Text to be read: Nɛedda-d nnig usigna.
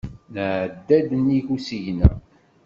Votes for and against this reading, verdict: 0, 2, rejected